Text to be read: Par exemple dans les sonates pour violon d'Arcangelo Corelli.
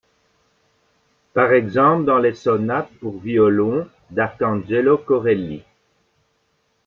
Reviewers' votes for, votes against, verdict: 1, 2, rejected